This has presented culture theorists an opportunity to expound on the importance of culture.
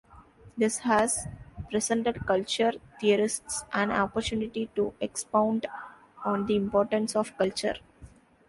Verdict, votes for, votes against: accepted, 2, 0